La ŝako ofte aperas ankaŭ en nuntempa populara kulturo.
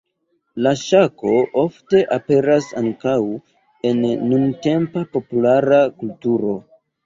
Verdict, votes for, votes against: rejected, 1, 2